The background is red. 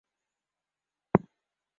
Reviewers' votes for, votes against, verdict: 0, 2, rejected